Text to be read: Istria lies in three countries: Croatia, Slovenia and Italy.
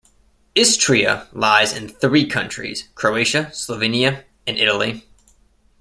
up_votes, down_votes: 2, 0